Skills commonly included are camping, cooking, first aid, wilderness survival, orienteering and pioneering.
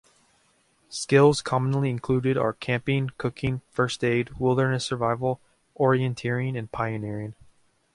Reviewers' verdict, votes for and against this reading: accepted, 2, 0